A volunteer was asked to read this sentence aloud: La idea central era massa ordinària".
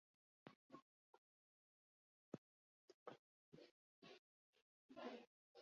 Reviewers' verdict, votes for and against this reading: rejected, 0, 4